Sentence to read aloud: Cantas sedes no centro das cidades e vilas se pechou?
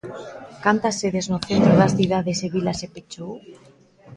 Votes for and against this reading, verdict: 2, 0, accepted